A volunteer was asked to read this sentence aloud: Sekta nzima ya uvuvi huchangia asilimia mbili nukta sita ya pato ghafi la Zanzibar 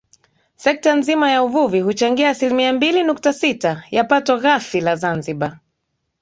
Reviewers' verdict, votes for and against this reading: accepted, 5, 0